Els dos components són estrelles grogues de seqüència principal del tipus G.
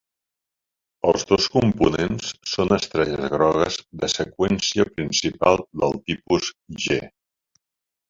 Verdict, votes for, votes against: rejected, 0, 2